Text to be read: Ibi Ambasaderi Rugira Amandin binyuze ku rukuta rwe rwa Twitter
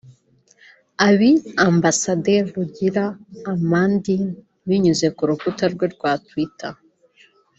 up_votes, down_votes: 1, 2